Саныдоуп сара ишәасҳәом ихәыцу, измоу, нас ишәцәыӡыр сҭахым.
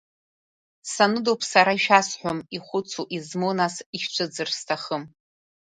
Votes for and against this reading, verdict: 2, 0, accepted